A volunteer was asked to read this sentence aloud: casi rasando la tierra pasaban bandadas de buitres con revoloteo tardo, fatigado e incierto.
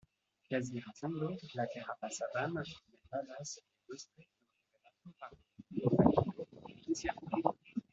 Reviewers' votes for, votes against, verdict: 1, 2, rejected